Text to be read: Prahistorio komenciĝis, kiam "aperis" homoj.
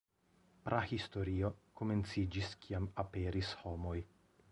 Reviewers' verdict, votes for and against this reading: rejected, 0, 2